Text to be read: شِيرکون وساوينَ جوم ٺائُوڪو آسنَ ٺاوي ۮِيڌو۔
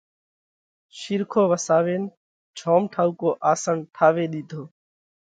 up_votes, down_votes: 2, 0